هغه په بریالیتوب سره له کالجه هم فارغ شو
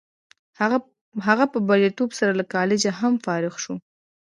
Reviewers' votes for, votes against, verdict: 1, 2, rejected